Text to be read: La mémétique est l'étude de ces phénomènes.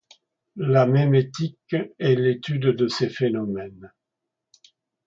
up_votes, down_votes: 2, 0